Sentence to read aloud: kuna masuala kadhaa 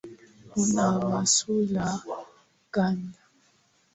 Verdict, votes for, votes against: rejected, 1, 2